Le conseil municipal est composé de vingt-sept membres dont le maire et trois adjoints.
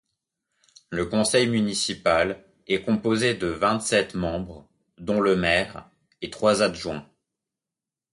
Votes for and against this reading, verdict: 2, 0, accepted